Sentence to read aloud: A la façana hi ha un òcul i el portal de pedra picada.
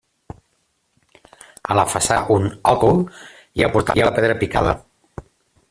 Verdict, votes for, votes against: rejected, 0, 2